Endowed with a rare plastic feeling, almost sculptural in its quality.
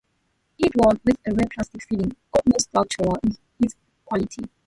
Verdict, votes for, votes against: rejected, 0, 2